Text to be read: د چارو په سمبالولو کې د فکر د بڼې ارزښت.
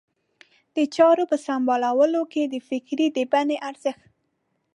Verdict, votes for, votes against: accepted, 2, 0